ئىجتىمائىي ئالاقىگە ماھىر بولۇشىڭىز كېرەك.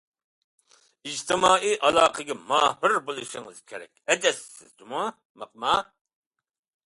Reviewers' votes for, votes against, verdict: 0, 2, rejected